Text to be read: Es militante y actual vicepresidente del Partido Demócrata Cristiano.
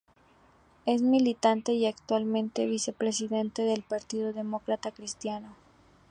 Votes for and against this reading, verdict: 0, 2, rejected